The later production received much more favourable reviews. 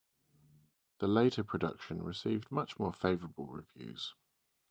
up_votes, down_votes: 2, 0